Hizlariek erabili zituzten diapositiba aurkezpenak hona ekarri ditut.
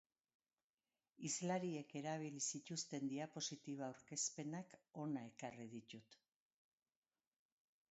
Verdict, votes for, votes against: rejected, 1, 2